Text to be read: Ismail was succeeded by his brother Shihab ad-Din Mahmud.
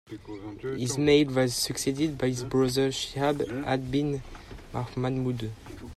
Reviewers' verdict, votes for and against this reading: accepted, 2, 0